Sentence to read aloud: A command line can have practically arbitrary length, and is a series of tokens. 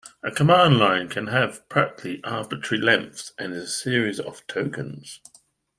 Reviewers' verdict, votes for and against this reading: accepted, 2, 1